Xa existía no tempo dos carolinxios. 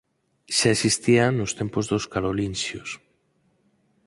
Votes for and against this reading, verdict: 0, 4, rejected